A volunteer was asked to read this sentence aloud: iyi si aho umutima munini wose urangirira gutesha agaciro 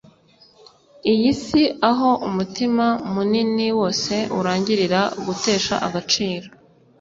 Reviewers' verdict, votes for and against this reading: accepted, 2, 0